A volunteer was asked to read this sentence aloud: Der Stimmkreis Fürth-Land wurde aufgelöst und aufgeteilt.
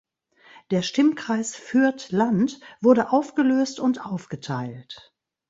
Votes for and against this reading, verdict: 2, 0, accepted